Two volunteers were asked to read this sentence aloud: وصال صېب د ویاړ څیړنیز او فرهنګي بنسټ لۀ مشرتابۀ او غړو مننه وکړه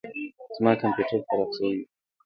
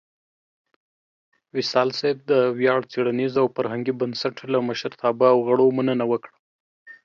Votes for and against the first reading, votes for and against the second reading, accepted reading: 1, 3, 2, 0, second